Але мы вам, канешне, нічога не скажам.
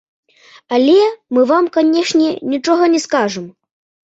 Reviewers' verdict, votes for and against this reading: rejected, 0, 2